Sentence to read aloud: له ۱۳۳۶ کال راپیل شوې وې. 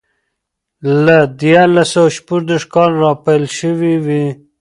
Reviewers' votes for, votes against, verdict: 0, 2, rejected